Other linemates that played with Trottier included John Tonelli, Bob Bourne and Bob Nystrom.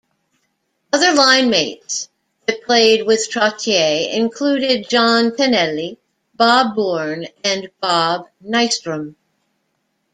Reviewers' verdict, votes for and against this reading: rejected, 1, 2